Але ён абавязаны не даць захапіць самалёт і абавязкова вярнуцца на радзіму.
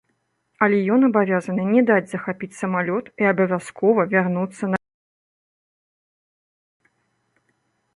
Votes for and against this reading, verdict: 0, 2, rejected